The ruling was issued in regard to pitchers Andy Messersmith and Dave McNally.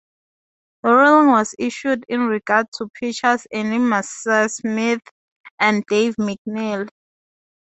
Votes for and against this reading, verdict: 2, 0, accepted